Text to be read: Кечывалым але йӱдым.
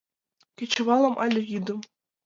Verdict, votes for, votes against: rejected, 1, 2